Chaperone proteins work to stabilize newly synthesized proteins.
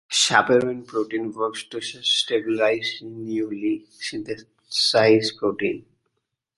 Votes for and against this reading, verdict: 1, 2, rejected